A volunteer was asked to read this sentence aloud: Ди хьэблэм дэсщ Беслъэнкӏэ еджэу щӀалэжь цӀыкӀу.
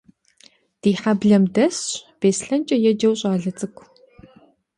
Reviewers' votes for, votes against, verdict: 0, 2, rejected